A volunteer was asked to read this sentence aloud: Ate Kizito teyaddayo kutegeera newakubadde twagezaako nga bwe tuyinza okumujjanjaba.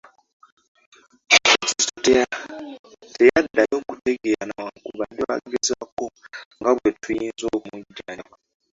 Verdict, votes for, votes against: rejected, 0, 2